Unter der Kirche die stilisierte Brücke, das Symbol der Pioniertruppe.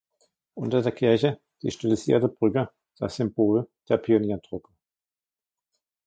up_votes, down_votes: 2, 0